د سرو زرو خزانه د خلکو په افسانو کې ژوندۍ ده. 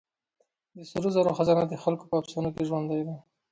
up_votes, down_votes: 2, 0